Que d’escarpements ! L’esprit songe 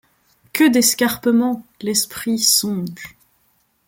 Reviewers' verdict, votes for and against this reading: accepted, 2, 0